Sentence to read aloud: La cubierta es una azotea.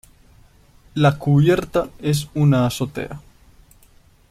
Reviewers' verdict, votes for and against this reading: accepted, 2, 0